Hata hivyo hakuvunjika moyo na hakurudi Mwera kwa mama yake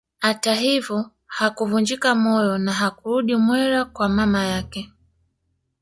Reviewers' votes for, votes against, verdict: 1, 2, rejected